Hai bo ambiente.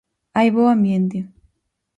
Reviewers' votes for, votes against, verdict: 4, 0, accepted